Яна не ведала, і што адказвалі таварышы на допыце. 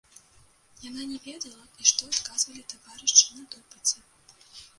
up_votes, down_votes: 1, 2